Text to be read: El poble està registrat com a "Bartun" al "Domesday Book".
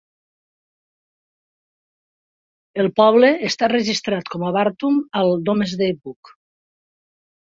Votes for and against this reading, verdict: 2, 1, accepted